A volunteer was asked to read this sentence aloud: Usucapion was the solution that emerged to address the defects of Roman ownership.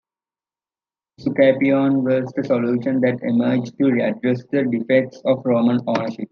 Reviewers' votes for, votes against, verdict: 1, 2, rejected